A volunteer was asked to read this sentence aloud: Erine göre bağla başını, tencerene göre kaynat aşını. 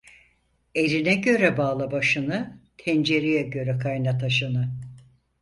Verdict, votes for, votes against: rejected, 2, 4